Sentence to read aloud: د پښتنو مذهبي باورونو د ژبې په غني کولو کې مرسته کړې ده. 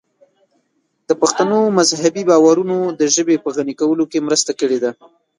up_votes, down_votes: 1, 2